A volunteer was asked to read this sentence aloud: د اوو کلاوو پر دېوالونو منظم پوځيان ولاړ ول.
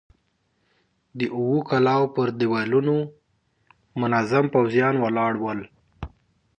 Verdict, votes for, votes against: accepted, 2, 0